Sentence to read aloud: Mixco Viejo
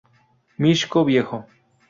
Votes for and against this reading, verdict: 2, 0, accepted